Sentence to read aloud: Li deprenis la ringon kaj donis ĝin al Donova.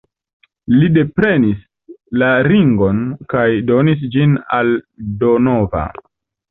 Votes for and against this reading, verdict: 2, 0, accepted